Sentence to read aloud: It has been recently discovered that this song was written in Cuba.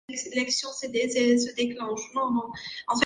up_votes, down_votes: 0, 2